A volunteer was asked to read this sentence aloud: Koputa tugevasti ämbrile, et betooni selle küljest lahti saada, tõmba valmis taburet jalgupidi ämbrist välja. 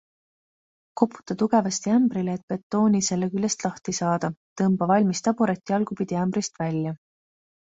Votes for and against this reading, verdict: 2, 0, accepted